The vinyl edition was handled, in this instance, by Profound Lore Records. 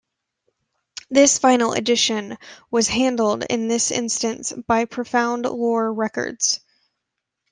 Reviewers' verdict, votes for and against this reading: rejected, 1, 2